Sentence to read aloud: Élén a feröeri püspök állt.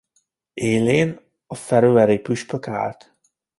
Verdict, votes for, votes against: accepted, 2, 0